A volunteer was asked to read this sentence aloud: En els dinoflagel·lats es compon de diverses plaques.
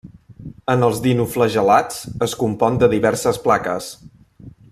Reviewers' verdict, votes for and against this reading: accepted, 2, 0